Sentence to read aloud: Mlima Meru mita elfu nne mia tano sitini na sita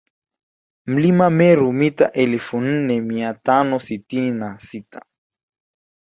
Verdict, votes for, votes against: rejected, 1, 2